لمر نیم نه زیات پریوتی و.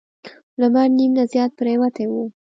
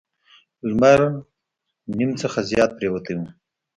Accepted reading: first